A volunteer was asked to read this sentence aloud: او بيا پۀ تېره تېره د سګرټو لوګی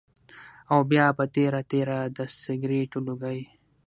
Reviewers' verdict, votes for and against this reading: rejected, 3, 3